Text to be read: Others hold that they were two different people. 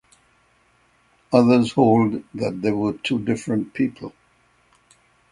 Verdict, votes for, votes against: accepted, 6, 0